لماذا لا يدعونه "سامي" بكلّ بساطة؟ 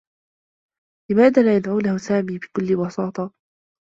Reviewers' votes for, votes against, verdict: 2, 0, accepted